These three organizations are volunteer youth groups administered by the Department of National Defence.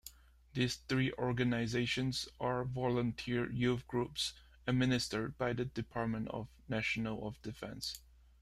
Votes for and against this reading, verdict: 0, 2, rejected